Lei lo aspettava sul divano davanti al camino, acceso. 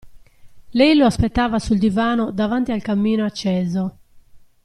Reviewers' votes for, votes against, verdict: 2, 0, accepted